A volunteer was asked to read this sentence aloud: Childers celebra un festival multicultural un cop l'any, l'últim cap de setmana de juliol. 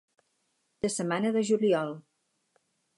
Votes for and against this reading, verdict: 0, 4, rejected